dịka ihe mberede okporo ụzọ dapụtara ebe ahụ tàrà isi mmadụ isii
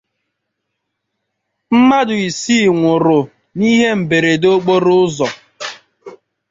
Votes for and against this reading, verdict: 0, 2, rejected